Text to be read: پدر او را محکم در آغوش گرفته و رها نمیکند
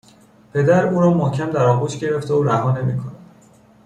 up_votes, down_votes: 2, 0